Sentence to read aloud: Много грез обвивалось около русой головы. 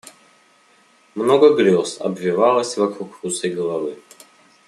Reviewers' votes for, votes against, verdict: 1, 2, rejected